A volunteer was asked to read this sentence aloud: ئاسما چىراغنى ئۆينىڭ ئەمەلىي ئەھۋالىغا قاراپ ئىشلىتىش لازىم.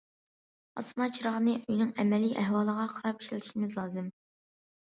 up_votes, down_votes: 0, 2